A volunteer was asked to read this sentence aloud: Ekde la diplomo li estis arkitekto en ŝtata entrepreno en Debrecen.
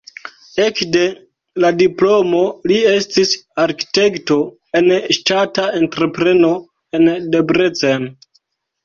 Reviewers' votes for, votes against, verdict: 1, 2, rejected